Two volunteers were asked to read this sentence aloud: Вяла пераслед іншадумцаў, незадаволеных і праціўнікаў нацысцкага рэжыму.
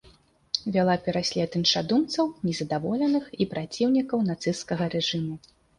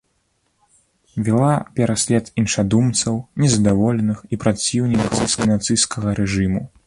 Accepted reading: first